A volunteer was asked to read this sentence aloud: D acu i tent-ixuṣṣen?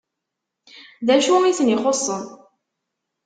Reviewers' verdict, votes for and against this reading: rejected, 1, 2